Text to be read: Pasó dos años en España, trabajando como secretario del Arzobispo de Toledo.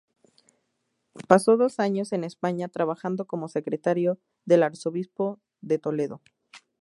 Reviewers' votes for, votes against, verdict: 2, 0, accepted